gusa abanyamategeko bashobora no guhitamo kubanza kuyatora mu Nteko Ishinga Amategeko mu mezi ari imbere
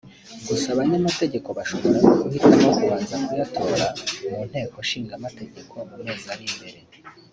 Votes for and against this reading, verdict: 1, 2, rejected